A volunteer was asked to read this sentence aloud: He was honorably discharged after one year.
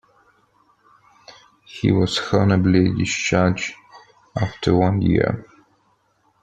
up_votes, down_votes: 1, 2